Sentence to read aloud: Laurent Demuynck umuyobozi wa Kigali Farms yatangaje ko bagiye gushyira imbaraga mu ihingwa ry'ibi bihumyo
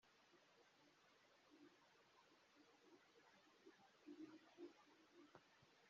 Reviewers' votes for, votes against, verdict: 0, 2, rejected